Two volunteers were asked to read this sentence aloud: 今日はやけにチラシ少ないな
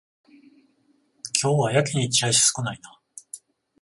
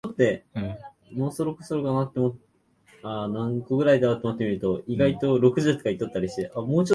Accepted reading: first